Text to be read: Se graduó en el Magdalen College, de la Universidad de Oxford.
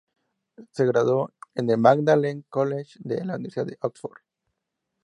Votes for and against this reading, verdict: 2, 2, rejected